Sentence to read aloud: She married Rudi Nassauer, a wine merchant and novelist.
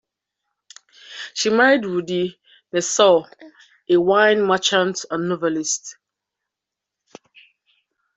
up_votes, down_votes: 2, 0